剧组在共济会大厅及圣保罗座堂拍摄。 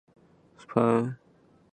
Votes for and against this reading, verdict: 0, 4, rejected